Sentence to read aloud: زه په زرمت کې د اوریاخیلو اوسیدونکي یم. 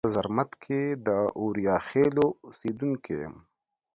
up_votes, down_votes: 1, 2